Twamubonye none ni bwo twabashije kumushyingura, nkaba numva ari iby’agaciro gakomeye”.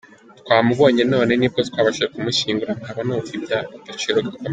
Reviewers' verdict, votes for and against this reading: rejected, 1, 2